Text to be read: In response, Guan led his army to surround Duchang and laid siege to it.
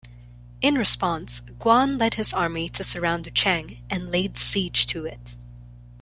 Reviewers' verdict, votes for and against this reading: accepted, 2, 0